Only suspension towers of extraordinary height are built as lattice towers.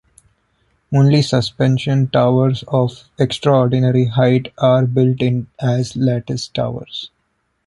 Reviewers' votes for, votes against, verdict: 0, 2, rejected